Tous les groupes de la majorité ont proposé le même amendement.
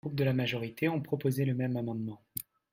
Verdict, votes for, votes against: rejected, 1, 2